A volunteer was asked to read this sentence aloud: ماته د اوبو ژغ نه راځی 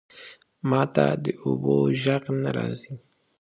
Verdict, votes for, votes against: accepted, 5, 0